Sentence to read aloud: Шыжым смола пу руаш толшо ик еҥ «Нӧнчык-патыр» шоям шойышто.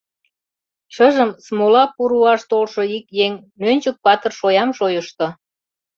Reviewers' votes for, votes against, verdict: 2, 0, accepted